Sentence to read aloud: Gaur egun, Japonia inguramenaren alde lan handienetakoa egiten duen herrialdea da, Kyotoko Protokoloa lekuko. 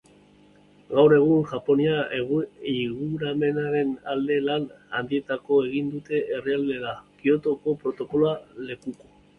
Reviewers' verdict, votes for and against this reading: rejected, 1, 2